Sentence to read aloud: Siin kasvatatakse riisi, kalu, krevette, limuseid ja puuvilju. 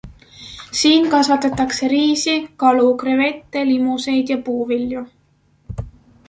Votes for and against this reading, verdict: 2, 0, accepted